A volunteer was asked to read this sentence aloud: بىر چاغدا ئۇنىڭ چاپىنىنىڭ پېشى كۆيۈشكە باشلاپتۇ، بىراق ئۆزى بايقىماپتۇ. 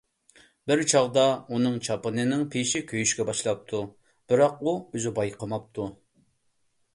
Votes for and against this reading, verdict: 1, 2, rejected